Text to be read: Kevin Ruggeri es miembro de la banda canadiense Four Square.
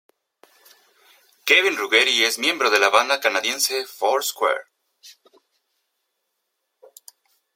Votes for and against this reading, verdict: 2, 0, accepted